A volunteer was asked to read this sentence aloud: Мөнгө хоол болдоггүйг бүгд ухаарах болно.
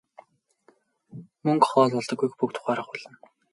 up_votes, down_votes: 6, 0